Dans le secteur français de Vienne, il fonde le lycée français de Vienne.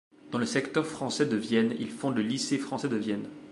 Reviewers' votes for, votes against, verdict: 2, 0, accepted